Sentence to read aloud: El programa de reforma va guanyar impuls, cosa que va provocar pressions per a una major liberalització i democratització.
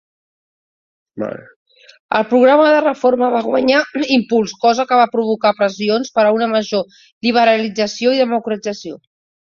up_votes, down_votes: 0, 2